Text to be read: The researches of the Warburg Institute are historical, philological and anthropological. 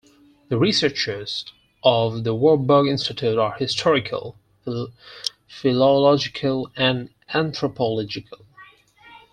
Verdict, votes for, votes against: rejected, 2, 4